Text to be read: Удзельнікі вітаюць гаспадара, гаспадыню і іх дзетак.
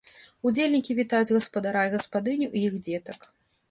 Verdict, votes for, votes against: rejected, 1, 2